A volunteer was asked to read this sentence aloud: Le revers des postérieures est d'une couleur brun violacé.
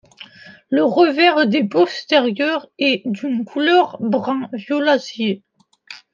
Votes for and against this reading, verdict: 1, 2, rejected